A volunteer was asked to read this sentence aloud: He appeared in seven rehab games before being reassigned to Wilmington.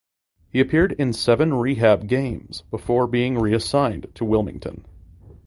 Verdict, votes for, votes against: accepted, 2, 0